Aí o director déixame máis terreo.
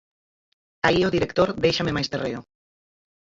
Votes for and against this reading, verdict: 0, 4, rejected